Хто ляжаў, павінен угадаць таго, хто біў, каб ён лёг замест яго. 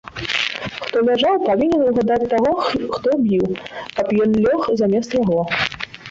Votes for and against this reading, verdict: 0, 2, rejected